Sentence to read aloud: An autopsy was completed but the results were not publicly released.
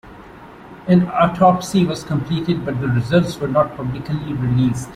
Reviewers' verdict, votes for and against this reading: rejected, 1, 2